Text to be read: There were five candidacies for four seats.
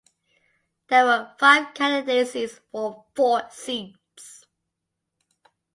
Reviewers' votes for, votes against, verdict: 2, 0, accepted